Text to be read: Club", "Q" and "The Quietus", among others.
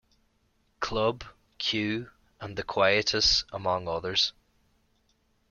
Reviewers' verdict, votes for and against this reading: accepted, 2, 0